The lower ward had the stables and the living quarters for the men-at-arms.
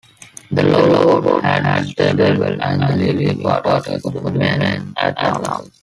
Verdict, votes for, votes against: rejected, 1, 2